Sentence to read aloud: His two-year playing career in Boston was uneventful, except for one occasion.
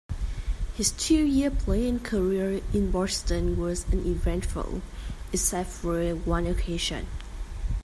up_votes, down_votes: 1, 2